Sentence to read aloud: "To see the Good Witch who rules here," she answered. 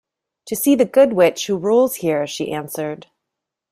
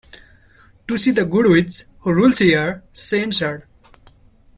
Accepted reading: first